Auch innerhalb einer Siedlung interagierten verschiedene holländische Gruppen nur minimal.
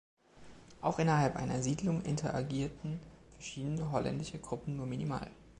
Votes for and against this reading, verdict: 2, 0, accepted